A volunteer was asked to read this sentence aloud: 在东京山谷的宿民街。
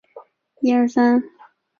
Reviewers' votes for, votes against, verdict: 0, 3, rejected